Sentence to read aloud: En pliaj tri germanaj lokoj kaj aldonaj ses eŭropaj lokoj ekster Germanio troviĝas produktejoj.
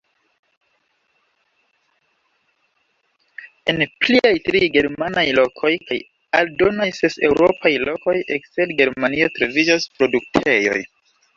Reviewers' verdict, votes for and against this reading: rejected, 0, 2